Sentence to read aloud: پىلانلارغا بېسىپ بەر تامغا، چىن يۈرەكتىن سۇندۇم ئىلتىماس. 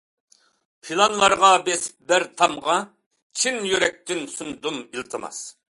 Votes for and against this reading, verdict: 2, 0, accepted